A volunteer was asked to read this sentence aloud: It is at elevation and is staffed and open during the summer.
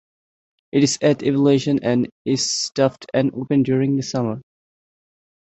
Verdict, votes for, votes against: accepted, 2, 0